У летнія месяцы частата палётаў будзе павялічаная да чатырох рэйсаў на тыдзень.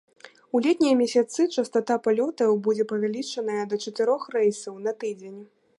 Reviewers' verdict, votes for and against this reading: rejected, 1, 2